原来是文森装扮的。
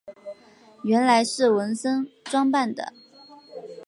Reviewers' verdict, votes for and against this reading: accepted, 3, 0